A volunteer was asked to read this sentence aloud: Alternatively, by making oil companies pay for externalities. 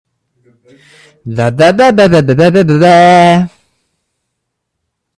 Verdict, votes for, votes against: rejected, 0, 2